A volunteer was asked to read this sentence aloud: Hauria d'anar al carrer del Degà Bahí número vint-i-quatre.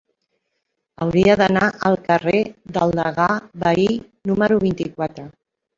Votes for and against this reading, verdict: 2, 0, accepted